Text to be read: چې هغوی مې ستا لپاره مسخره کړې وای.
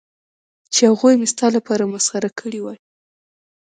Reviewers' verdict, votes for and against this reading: rejected, 0, 2